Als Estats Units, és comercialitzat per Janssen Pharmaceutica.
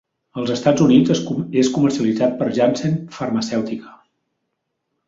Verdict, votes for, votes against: rejected, 0, 2